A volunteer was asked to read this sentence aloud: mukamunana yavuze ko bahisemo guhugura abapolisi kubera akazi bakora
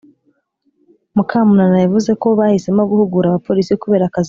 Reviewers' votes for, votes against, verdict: 0, 3, rejected